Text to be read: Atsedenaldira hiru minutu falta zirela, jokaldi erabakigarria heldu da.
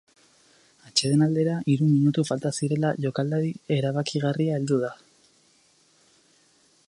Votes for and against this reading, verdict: 2, 2, rejected